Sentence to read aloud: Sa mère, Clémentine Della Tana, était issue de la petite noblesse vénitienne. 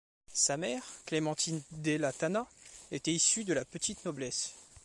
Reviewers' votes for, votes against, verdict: 0, 2, rejected